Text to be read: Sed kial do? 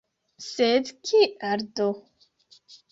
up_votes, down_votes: 4, 0